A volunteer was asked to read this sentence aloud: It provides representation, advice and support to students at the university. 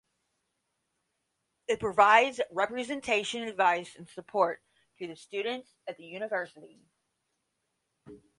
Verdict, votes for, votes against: rejected, 0, 10